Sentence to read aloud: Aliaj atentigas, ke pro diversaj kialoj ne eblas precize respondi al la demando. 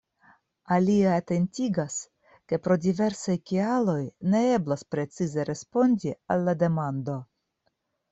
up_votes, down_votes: 0, 2